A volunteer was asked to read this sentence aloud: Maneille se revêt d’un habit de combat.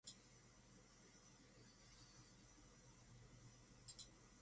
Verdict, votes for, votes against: rejected, 0, 2